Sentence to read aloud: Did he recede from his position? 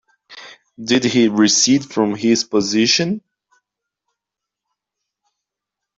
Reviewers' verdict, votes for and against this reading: accepted, 2, 0